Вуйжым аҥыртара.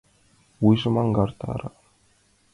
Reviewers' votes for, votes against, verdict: 1, 2, rejected